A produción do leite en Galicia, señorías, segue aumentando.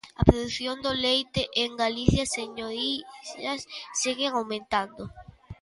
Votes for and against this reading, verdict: 0, 2, rejected